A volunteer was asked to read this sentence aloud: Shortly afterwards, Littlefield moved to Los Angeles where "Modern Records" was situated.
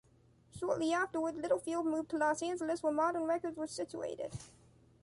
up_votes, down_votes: 2, 1